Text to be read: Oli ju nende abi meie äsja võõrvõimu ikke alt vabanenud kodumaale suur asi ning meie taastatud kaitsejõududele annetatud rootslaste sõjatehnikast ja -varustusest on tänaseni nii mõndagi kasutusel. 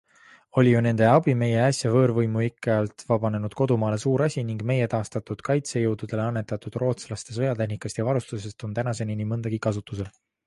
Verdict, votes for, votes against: accepted, 2, 0